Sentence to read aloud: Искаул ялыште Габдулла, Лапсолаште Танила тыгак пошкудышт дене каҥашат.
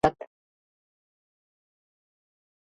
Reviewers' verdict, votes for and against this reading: rejected, 0, 2